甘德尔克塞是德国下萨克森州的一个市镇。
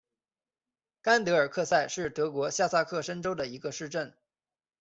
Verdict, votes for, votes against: accepted, 2, 0